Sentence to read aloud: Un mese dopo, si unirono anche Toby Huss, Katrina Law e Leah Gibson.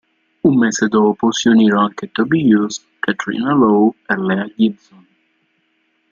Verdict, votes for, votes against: rejected, 2, 3